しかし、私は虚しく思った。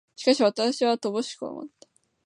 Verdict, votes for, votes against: rejected, 0, 2